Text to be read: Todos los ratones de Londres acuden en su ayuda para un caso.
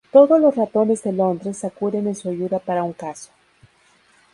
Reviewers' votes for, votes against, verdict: 2, 0, accepted